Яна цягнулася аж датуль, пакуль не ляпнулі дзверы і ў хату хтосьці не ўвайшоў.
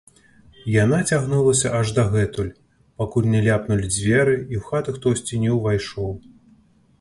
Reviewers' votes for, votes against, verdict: 1, 2, rejected